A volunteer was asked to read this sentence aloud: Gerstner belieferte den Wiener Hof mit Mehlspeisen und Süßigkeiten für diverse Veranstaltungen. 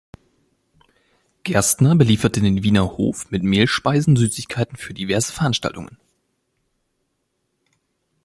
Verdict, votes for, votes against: rejected, 1, 2